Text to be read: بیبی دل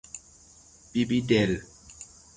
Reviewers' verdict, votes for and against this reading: accepted, 3, 0